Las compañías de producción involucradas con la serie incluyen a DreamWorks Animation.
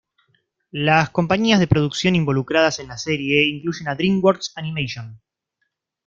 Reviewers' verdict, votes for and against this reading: rejected, 1, 2